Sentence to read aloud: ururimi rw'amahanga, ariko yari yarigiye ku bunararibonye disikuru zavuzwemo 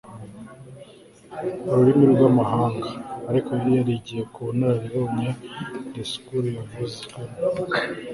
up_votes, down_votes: 1, 2